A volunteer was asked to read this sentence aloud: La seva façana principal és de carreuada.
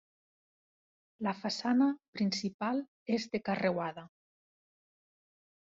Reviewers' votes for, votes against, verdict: 0, 2, rejected